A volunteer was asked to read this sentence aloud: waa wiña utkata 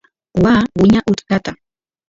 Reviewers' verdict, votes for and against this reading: rejected, 1, 2